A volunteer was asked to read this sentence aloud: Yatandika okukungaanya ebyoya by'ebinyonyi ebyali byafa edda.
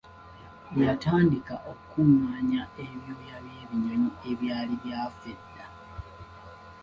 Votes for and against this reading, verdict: 2, 0, accepted